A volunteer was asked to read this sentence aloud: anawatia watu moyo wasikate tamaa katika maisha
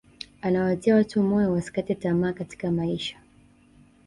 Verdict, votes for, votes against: accepted, 2, 0